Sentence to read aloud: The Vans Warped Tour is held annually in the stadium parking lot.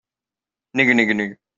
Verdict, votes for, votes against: rejected, 0, 2